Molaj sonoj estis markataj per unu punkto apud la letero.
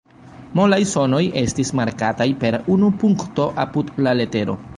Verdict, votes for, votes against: rejected, 2, 3